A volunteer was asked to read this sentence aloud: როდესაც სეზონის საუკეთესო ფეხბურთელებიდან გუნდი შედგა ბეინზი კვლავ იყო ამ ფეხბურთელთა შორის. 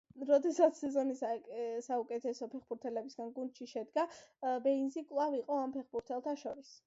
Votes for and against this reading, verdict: 0, 2, rejected